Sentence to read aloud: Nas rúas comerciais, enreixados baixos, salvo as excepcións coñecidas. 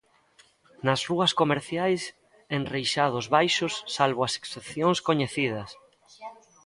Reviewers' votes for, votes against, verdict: 2, 0, accepted